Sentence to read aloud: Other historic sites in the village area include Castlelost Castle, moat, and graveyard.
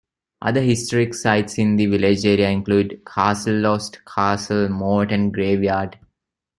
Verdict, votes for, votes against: accepted, 2, 1